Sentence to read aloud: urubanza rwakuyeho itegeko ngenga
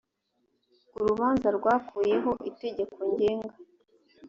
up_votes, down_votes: 2, 0